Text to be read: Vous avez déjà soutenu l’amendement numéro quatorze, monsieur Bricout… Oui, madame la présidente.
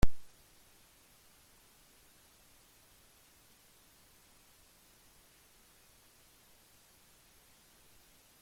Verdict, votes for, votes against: rejected, 0, 2